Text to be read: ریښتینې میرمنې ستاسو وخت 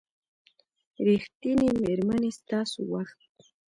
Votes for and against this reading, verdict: 2, 0, accepted